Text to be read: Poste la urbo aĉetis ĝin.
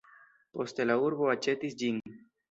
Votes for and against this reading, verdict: 2, 0, accepted